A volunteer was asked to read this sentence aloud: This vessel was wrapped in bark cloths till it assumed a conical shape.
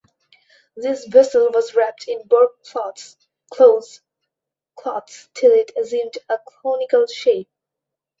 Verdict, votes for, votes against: rejected, 0, 2